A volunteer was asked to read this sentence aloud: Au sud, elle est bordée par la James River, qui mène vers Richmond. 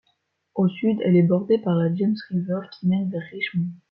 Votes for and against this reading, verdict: 2, 0, accepted